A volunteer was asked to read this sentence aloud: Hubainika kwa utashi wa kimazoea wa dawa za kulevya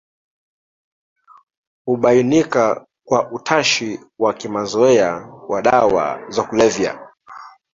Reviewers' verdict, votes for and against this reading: rejected, 1, 2